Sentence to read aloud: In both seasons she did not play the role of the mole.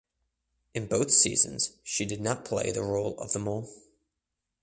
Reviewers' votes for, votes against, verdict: 2, 0, accepted